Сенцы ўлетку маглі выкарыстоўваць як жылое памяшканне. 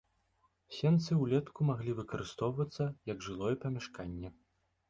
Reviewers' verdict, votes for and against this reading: rejected, 0, 2